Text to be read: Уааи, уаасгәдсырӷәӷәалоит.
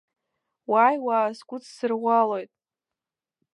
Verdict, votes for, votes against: accepted, 2, 0